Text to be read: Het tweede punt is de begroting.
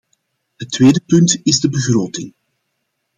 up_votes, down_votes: 2, 1